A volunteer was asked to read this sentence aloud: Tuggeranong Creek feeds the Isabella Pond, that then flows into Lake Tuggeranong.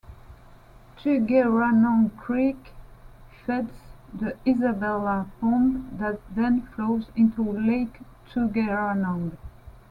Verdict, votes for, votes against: rejected, 1, 2